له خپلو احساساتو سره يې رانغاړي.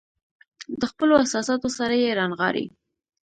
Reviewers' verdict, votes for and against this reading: accepted, 2, 0